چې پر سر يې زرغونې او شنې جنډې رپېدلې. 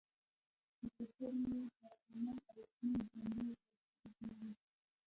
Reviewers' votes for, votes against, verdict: 1, 2, rejected